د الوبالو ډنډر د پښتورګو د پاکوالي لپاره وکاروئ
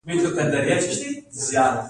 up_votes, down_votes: 0, 2